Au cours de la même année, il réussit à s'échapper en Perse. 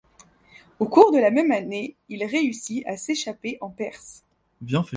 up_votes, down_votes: 0, 2